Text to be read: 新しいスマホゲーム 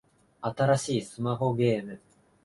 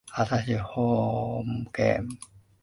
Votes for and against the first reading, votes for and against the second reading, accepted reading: 2, 0, 0, 2, first